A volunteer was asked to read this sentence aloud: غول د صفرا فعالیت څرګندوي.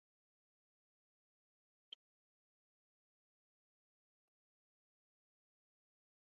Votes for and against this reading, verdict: 0, 2, rejected